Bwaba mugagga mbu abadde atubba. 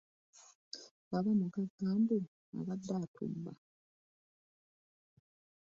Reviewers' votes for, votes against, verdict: 0, 2, rejected